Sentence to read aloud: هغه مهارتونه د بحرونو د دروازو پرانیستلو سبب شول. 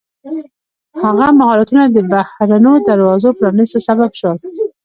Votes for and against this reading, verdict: 2, 0, accepted